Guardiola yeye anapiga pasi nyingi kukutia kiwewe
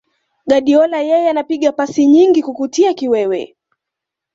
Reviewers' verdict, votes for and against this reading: accepted, 2, 0